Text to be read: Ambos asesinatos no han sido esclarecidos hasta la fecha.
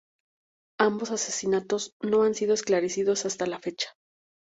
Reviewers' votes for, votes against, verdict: 2, 0, accepted